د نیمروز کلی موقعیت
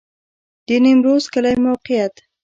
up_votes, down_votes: 2, 0